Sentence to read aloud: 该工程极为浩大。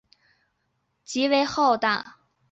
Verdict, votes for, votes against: rejected, 0, 2